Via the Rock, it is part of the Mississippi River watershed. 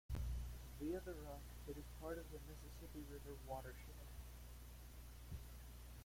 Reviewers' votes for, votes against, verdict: 0, 2, rejected